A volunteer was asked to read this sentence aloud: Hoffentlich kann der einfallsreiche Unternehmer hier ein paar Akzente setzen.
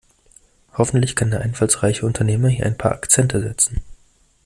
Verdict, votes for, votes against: accepted, 2, 0